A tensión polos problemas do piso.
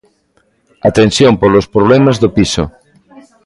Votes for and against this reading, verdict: 2, 1, accepted